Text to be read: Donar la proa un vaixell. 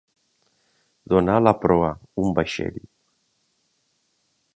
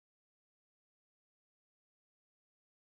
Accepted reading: first